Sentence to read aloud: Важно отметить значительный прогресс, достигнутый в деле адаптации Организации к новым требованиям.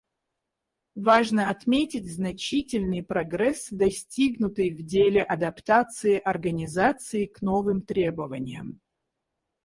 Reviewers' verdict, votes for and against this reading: accepted, 4, 0